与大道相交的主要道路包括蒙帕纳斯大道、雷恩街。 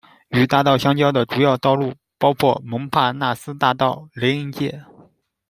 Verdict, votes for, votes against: accepted, 2, 0